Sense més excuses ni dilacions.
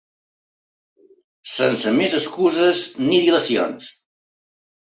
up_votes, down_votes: 2, 0